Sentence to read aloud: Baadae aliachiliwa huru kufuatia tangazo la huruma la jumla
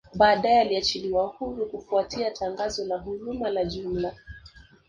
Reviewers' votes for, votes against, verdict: 4, 1, accepted